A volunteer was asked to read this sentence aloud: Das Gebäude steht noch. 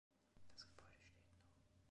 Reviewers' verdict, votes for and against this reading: rejected, 1, 2